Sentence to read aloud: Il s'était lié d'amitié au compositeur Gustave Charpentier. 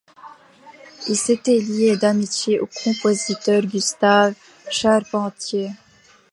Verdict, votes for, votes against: accepted, 2, 0